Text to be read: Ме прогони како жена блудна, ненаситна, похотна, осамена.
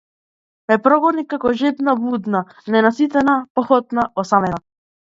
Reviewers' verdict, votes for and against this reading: rejected, 0, 2